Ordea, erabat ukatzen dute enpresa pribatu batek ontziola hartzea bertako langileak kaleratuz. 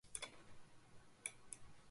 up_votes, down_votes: 0, 2